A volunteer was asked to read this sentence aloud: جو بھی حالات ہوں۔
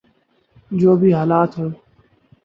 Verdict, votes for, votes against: accepted, 12, 0